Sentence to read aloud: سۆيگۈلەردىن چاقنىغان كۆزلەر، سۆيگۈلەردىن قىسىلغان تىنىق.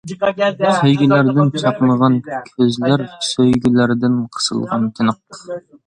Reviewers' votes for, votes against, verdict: 2, 0, accepted